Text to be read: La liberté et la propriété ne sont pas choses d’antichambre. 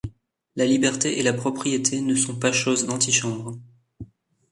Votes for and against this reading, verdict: 2, 0, accepted